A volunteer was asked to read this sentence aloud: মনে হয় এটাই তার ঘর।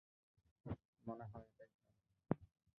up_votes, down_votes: 0, 2